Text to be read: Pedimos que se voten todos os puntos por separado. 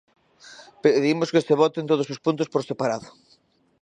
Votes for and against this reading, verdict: 2, 1, accepted